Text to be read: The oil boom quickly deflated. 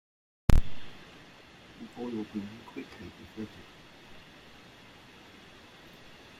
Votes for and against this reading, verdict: 1, 2, rejected